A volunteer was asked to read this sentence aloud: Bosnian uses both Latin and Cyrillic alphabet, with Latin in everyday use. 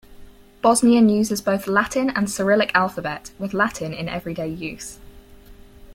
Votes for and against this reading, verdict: 4, 0, accepted